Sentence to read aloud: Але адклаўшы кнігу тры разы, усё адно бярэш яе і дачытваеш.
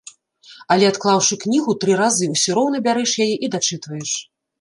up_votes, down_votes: 0, 2